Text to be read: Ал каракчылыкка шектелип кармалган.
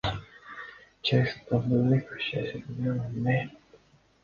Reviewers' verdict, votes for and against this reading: rejected, 0, 2